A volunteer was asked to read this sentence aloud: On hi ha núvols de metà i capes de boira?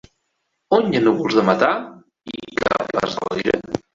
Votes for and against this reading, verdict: 0, 3, rejected